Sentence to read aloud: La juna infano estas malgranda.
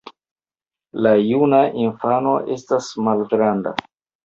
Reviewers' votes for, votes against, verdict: 1, 2, rejected